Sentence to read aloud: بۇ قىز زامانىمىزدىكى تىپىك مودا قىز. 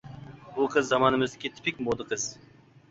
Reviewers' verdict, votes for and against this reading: accepted, 2, 0